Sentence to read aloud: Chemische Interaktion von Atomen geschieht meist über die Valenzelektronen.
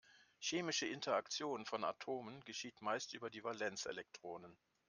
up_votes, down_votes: 0, 2